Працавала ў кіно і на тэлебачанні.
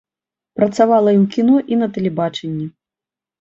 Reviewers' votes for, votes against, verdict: 1, 2, rejected